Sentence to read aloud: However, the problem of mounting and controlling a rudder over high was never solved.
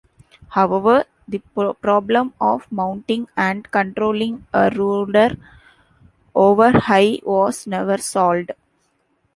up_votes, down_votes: 2, 0